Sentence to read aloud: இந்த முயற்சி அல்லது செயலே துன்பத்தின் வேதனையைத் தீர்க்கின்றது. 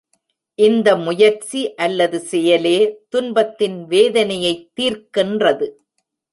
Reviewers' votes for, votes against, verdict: 2, 0, accepted